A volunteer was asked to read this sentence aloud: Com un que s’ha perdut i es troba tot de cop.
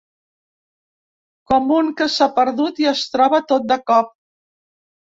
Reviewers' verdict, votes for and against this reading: accepted, 2, 0